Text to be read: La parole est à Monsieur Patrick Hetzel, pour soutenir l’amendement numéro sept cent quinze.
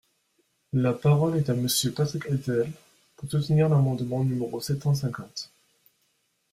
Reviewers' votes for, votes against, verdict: 0, 2, rejected